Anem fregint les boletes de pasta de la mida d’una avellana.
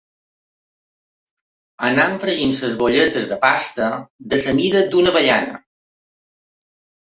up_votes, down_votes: 2, 1